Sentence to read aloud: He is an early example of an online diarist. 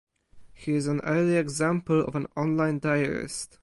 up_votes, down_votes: 2, 2